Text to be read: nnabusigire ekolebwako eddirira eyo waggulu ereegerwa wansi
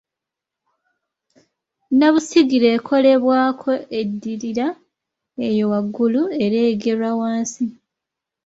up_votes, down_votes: 2, 0